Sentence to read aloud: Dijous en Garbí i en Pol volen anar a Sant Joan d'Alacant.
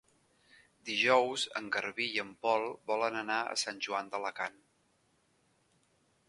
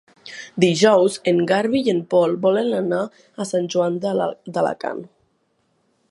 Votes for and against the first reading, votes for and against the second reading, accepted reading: 5, 0, 0, 2, first